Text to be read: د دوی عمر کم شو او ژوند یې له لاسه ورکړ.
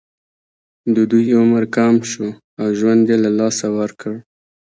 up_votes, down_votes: 2, 1